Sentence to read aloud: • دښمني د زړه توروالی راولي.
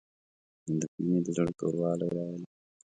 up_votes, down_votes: 0, 3